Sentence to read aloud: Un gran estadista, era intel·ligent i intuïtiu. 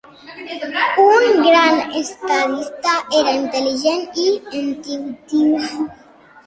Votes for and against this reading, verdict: 1, 2, rejected